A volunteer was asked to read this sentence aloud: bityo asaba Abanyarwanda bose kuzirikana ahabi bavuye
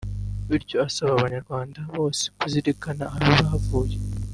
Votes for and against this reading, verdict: 1, 2, rejected